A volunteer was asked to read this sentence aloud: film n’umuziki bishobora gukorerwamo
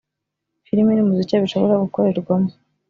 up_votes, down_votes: 2, 0